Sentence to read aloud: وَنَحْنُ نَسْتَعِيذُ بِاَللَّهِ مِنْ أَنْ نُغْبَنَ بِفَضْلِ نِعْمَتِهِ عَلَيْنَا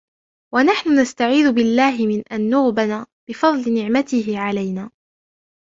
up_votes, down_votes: 1, 2